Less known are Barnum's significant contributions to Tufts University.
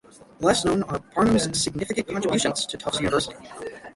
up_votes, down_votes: 0, 6